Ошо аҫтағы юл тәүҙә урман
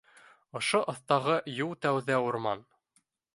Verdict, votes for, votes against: accepted, 3, 0